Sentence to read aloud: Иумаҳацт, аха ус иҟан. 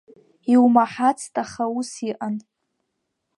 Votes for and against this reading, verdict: 2, 0, accepted